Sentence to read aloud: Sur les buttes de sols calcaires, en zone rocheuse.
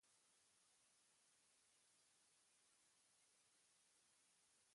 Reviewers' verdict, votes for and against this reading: rejected, 0, 2